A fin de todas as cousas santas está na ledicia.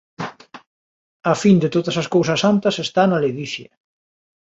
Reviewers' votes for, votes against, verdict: 2, 1, accepted